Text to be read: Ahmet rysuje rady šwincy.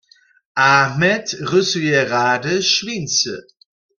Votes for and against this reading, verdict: 1, 2, rejected